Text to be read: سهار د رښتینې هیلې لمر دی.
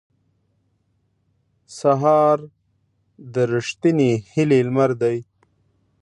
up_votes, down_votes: 2, 0